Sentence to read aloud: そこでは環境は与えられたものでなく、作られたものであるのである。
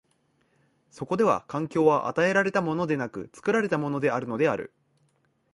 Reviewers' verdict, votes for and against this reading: accepted, 2, 0